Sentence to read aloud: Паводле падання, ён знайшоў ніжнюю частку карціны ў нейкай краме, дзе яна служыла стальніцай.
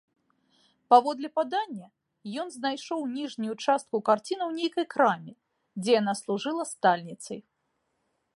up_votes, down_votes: 1, 2